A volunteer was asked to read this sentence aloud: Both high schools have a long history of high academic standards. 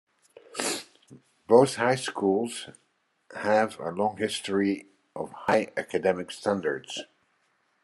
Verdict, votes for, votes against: accepted, 2, 1